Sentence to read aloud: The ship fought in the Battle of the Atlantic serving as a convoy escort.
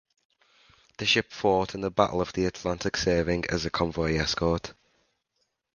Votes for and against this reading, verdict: 2, 0, accepted